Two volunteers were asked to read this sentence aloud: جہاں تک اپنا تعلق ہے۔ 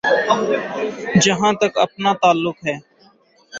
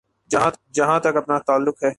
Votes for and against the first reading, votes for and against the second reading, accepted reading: 3, 0, 0, 2, first